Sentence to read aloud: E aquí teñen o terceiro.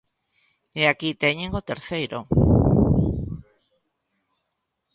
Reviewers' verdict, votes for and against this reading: accepted, 2, 0